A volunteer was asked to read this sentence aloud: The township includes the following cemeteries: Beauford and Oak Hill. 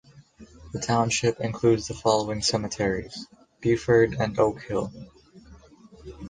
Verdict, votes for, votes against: accepted, 2, 0